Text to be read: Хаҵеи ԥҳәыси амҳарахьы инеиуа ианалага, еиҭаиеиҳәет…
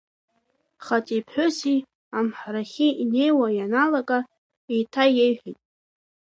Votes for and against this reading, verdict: 2, 1, accepted